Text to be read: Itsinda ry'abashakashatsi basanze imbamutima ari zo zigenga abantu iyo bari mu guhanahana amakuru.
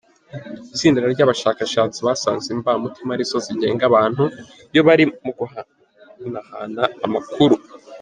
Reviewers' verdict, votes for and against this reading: accepted, 2, 1